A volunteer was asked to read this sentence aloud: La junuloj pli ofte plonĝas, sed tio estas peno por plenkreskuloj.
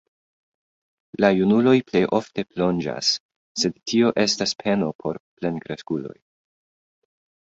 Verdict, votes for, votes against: accepted, 2, 0